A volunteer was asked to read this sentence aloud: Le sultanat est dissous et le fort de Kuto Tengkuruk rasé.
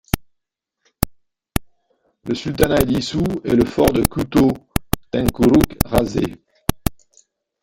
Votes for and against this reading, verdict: 1, 2, rejected